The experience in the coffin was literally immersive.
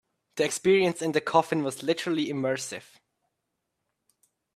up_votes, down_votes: 2, 1